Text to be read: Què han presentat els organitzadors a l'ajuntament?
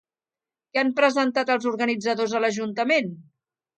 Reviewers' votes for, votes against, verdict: 2, 0, accepted